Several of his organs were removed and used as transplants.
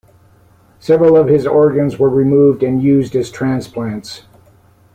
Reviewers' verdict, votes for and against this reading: accepted, 2, 0